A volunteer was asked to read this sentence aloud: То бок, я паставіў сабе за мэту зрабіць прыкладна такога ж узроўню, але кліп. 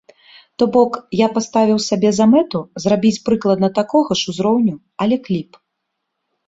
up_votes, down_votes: 3, 0